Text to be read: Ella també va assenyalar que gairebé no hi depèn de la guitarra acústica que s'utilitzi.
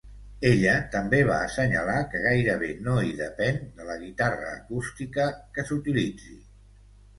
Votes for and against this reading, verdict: 2, 0, accepted